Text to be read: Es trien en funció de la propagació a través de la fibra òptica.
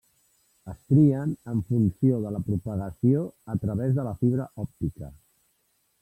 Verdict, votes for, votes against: rejected, 1, 2